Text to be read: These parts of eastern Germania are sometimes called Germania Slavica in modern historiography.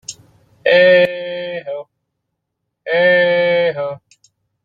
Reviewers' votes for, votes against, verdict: 0, 3, rejected